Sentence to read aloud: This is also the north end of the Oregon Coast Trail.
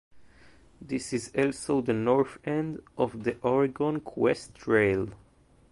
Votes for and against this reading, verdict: 2, 0, accepted